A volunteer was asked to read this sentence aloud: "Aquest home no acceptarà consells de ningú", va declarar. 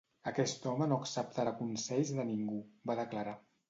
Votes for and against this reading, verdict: 2, 0, accepted